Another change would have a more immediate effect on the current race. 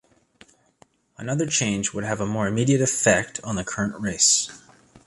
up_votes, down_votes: 2, 0